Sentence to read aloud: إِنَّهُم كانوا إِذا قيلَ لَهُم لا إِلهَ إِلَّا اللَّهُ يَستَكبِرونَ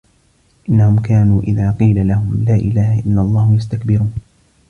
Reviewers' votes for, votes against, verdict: 1, 2, rejected